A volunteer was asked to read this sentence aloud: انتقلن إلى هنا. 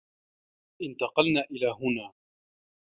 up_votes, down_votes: 2, 0